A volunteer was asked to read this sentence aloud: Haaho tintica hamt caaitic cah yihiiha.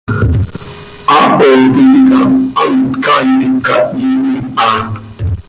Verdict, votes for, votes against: rejected, 0, 2